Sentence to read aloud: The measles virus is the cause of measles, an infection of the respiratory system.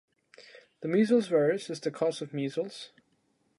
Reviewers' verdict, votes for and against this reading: rejected, 1, 3